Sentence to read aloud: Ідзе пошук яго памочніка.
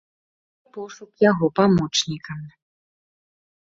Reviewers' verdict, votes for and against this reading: rejected, 1, 2